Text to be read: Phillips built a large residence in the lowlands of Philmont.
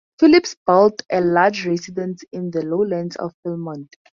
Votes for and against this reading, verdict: 4, 0, accepted